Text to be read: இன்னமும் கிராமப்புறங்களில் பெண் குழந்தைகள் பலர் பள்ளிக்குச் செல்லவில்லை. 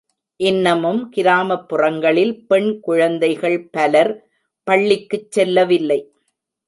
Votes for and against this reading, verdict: 1, 2, rejected